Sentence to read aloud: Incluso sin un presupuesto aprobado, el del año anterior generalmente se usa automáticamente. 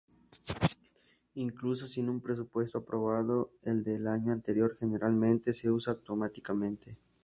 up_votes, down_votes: 2, 0